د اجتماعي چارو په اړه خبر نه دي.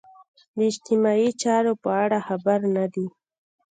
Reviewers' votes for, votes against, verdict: 1, 2, rejected